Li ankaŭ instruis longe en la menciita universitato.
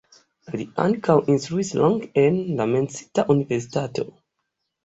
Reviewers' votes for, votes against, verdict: 1, 2, rejected